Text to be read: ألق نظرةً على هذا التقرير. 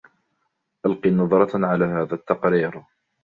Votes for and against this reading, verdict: 0, 2, rejected